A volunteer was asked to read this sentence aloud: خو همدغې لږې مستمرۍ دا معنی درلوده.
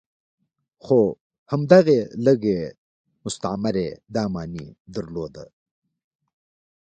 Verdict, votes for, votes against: accepted, 2, 0